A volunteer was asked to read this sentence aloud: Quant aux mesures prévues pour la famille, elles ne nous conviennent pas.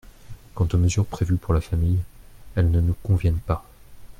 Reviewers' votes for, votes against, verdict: 2, 0, accepted